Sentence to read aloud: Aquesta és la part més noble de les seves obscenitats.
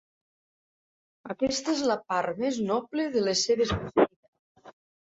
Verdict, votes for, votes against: rejected, 0, 2